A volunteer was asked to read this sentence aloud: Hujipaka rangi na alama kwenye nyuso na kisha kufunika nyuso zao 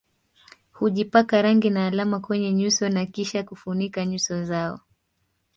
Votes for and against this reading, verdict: 1, 2, rejected